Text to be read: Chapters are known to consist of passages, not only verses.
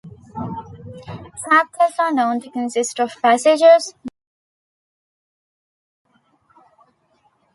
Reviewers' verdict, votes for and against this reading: rejected, 0, 2